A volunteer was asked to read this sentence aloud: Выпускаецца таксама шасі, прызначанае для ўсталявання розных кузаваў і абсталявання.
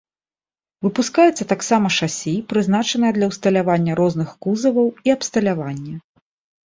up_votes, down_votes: 2, 0